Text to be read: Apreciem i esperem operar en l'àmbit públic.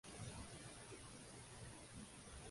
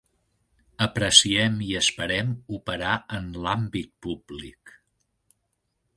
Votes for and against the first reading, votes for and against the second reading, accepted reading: 0, 2, 3, 0, second